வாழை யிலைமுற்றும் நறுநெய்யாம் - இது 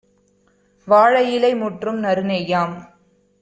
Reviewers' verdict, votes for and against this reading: rejected, 1, 2